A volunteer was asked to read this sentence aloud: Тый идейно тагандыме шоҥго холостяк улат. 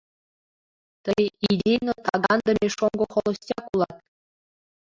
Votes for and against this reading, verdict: 0, 2, rejected